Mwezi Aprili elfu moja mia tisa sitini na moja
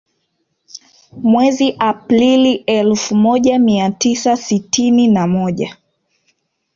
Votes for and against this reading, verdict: 0, 2, rejected